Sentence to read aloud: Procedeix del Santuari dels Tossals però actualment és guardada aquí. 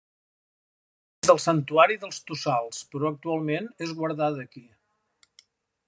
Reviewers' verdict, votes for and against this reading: rejected, 0, 2